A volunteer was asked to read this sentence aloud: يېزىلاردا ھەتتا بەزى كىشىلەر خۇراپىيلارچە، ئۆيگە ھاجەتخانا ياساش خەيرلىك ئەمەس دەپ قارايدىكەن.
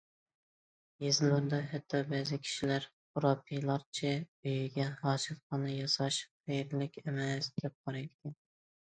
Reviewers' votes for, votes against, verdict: 1, 2, rejected